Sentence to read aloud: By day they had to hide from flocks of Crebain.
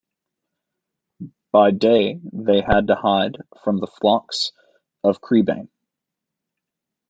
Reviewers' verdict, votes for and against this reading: rejected, 0, 2